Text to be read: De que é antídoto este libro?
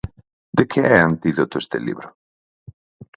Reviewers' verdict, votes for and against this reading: accepted, 4, 0